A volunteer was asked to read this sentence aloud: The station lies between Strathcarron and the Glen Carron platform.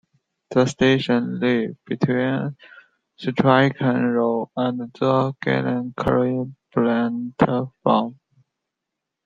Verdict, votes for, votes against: rejected, 0, 2